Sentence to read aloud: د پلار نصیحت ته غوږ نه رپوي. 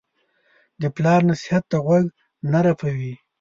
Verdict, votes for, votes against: accepted, 2, 0